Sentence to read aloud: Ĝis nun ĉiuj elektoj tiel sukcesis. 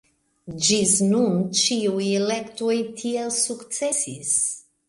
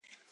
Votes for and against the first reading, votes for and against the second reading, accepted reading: 2, 0, 1, 2, first